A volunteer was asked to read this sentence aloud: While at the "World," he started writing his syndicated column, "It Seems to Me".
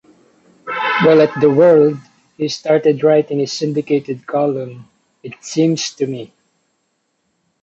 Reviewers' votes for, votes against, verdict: 2, 0, accepted